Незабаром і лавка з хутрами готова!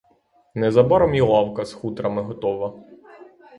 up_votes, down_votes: 0, 3